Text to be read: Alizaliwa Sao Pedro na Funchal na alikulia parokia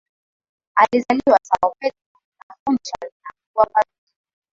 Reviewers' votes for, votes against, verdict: 0, 2, rejected